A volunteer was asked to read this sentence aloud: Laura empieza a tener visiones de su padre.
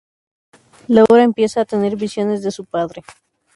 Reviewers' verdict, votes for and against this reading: accepted, 2, 0